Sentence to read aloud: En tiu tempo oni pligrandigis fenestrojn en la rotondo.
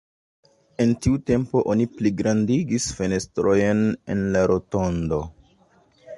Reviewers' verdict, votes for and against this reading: rejected, 1, 2